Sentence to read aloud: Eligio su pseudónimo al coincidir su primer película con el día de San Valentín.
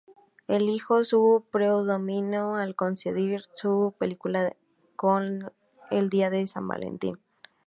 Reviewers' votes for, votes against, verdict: 0, 4, rejected